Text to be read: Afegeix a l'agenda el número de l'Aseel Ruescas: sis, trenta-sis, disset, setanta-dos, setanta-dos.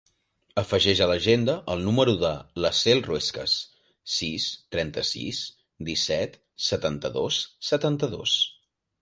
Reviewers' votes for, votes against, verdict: 2, 0, accepted